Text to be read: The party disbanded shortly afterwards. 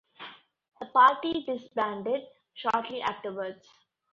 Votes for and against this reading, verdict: 2, 0, accepted